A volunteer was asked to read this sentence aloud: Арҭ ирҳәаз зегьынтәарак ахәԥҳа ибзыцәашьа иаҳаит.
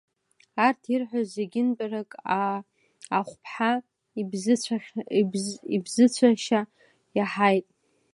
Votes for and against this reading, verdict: 0, 2, rejected